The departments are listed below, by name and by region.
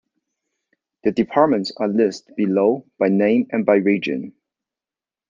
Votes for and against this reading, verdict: 0, 2, rejected